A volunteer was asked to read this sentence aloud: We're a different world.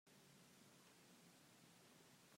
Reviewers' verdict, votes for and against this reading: rejected, 0, 2